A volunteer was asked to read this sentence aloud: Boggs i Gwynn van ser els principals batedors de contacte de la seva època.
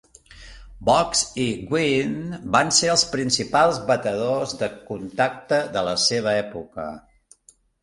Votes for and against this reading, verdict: 4, 0, accepted